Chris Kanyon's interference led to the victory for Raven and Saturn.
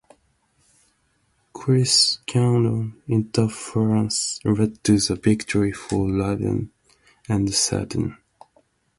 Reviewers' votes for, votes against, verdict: 0, 2, rejected